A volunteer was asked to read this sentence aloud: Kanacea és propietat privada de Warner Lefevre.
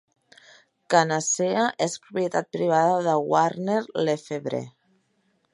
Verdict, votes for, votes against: accepted, 2, 0